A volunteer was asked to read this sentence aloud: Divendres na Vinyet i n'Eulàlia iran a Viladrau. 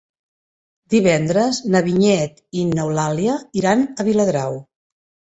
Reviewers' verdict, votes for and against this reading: accepted, 3, 0